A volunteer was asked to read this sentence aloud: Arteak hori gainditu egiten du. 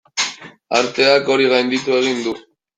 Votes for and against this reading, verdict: 0, 2, rejected